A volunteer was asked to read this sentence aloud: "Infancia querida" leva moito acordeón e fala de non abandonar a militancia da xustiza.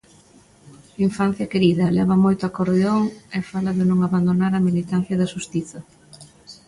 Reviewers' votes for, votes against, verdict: 3, 0, accepted